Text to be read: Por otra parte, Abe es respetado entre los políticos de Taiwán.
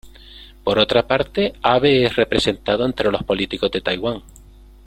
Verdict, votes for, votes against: rejected, 1, 2